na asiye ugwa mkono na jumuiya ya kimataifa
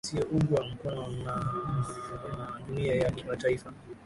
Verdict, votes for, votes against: rejected, 4, 7